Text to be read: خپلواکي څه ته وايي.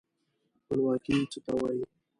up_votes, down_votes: 2, 0